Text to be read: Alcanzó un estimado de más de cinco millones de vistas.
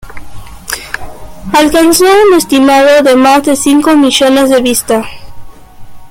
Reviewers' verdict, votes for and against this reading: rejected, 1, 2